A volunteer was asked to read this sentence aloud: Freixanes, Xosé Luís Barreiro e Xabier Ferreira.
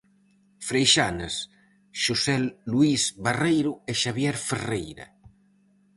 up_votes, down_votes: 2, 2